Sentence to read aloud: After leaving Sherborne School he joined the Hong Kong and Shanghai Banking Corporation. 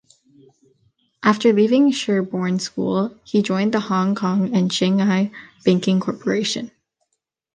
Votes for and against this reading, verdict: 2, 0, accepted